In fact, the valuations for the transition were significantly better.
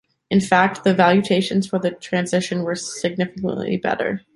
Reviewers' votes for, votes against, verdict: 1, 2, rejected